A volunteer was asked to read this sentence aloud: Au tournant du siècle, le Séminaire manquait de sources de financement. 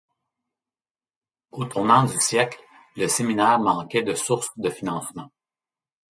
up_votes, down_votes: 2, 0